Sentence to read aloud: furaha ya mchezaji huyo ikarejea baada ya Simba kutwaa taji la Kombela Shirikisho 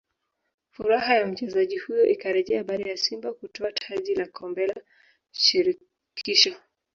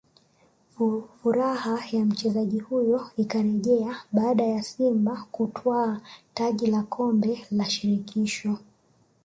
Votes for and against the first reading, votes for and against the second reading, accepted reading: 0, 2, 2, 1, second